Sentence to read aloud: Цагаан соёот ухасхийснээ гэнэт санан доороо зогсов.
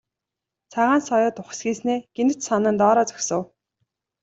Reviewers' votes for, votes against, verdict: 0, 2, rejected